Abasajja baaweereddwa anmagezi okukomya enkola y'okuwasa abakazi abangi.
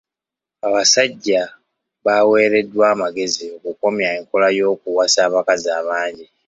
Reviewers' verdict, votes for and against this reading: accepted, 2, 1